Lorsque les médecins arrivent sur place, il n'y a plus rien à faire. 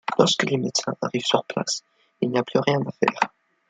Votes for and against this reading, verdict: 2, 1, accepted